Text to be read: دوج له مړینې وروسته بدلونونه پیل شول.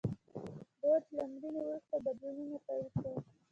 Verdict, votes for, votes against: rejected, 1, 2